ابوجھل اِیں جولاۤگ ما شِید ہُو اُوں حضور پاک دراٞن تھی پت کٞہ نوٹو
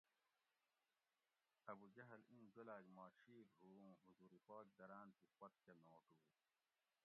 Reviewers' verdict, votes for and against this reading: rejected, 1, 2